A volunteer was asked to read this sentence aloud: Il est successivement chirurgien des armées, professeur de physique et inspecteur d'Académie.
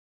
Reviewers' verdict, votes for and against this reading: rejected, 1, 2